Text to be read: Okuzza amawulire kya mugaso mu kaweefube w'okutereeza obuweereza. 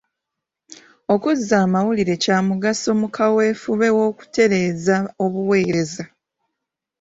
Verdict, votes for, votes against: accepted, 2, 1